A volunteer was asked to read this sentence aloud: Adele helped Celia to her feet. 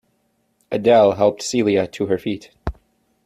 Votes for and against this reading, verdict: 2, 0, accepted